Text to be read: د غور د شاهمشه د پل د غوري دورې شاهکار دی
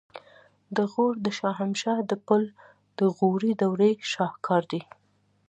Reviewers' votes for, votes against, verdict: 2, 0, accepted